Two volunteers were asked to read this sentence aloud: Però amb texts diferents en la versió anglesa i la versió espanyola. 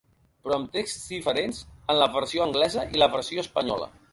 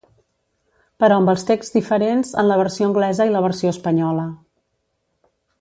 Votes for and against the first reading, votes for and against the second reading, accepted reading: 2, 1, 0, 2, first